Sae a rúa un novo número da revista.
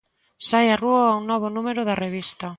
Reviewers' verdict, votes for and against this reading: accepted, 2, 0